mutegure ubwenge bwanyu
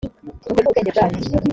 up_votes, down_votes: 0, 2